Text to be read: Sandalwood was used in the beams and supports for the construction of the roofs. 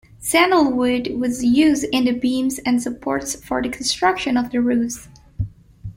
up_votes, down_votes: 2, 0